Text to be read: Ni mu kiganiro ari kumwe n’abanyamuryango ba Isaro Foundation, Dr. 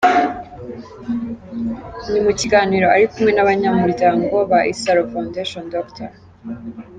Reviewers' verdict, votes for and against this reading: accepted, 2, 0